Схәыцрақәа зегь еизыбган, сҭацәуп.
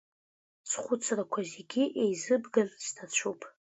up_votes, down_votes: 2, 0